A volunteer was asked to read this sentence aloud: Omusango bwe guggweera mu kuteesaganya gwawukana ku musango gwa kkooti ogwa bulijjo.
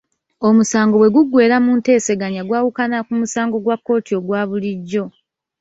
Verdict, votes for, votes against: rejected, 0, 2